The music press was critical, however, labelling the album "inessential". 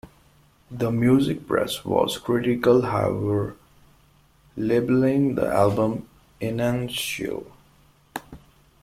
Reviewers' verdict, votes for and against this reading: rejected, 0, 2